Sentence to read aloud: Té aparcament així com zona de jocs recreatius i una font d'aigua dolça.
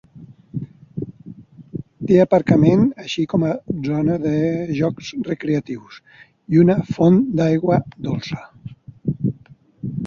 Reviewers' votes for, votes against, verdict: 1, 2, rejected